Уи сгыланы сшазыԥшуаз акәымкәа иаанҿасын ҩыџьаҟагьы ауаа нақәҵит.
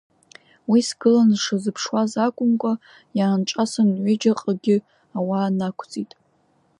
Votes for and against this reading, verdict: 2, 0, accepted